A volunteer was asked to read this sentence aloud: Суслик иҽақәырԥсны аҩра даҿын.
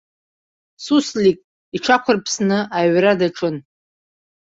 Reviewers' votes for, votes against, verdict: 1, 2, rejected